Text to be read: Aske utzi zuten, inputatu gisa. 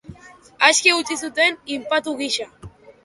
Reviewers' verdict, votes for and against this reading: rejected, 0, 2